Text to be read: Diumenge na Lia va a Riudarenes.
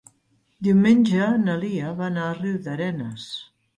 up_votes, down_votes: 0, 2